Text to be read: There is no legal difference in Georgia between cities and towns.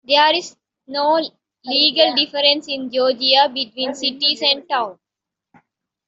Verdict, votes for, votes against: accepted, 2, 0